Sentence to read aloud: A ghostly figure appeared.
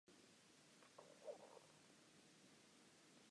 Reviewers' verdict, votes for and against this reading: rejected, 0, 3